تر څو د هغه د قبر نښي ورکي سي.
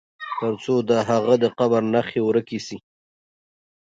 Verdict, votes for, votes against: accepted, 2, 0